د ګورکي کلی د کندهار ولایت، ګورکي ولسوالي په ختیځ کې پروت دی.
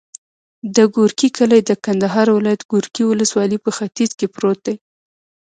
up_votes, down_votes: 1, 2